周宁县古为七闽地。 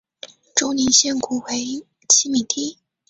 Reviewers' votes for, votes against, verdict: 3, 0, accepted